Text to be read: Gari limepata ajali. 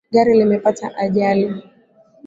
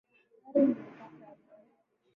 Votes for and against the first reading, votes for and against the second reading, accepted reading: 2, 0, 1, 5, first